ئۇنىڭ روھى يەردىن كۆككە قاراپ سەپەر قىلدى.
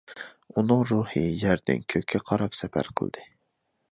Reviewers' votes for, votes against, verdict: 2, 0, accepted